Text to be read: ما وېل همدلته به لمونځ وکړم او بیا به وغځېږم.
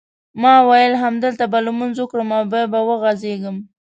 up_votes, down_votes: 2, 0